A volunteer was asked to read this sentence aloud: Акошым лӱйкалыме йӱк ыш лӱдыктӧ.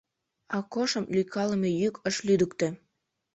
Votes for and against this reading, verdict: 2, 0, accepted